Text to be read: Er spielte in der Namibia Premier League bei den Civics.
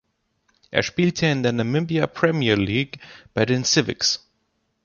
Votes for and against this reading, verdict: 1, 2, rejected